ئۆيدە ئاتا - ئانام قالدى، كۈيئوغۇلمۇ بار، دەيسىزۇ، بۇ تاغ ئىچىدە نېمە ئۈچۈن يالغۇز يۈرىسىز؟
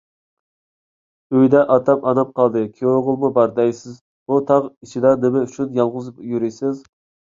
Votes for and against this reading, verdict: 1, 2, rejected